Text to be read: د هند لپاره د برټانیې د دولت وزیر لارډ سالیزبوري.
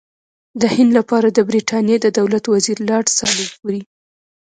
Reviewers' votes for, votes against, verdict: 2, 1, accepted